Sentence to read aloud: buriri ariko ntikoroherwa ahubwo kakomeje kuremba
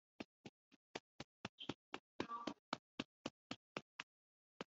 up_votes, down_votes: 0, 3